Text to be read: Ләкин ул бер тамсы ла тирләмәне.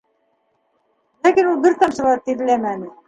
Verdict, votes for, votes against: rejected, 1, 2